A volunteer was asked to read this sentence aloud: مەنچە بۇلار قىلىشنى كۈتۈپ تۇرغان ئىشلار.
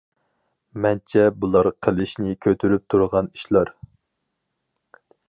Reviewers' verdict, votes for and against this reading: rejected, 0, 4